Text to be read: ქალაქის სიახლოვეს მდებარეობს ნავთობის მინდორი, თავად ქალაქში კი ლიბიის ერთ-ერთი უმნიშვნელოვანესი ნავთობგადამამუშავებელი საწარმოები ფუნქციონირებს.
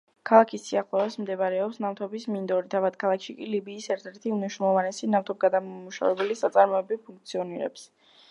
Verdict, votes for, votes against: rejected, 1, 2